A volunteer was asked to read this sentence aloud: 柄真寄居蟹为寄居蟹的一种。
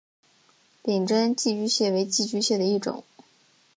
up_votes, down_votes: 3, 1